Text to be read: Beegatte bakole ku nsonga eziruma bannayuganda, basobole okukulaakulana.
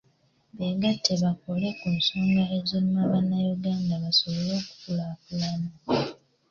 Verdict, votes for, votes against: accepted, 3, 0